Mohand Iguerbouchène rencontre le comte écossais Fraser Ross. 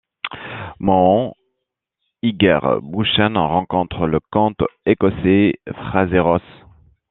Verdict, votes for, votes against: accepted, 2, 0